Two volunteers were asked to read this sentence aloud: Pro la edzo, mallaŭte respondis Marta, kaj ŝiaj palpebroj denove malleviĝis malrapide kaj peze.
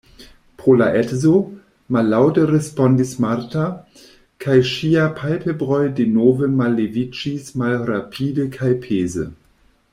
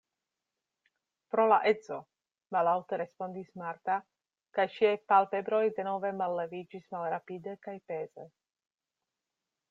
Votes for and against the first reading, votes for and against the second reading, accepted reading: 1, 2, 2, 0, second